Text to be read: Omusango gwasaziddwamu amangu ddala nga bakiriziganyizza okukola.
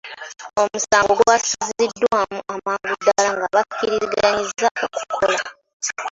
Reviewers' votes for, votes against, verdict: 2, 1, accepted